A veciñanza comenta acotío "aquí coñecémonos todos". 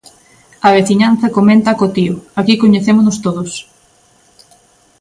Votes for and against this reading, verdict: 2, 0, accepted